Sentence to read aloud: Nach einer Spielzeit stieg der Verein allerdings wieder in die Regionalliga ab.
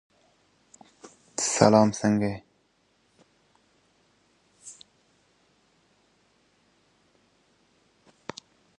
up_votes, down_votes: 0, 2